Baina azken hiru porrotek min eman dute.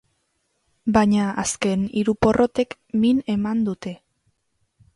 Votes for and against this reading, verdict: 11, 0, accepted